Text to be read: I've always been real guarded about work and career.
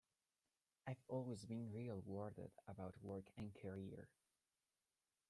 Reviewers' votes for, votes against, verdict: 0, 2, rejected